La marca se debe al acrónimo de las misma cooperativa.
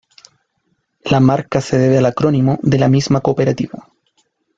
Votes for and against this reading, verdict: 2, 0, accepted